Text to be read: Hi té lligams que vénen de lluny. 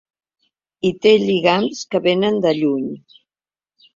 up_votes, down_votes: 2, 0